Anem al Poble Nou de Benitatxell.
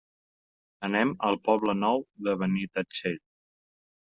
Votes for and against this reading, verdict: 3, 0, accepted